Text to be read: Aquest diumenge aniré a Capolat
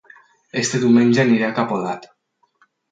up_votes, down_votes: 2, 2